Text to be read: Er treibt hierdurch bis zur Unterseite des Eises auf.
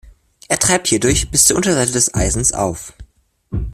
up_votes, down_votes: 1, 2